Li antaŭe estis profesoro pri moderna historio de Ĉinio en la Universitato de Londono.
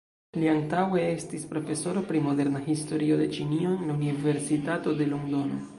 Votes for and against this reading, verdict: 2, 1, accepted